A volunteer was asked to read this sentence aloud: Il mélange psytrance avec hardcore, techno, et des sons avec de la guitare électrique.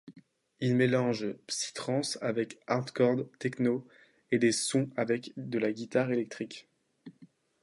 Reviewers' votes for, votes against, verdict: 1, 2, rejected